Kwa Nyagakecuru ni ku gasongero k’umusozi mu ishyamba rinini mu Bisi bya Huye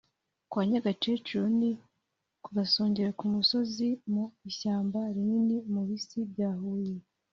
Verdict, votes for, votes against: accepted, 2, 0